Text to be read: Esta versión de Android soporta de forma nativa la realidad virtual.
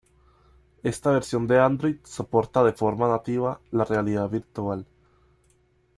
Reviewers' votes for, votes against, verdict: 2, 0, accepted